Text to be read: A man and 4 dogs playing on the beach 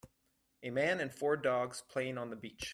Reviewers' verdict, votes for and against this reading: rejected, 0, 2